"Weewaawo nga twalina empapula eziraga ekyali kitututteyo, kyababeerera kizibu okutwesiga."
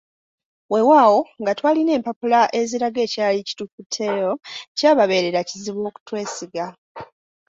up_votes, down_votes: 0, 2